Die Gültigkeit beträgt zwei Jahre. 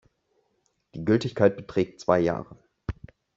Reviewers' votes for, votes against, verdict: 1, 2, rejected